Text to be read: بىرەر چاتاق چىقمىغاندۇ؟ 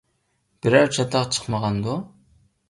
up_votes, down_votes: 2, 0